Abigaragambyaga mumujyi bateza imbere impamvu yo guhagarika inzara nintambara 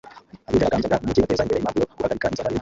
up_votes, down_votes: 0, 2